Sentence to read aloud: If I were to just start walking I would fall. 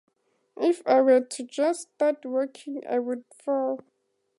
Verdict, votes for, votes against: rejected, 0, 2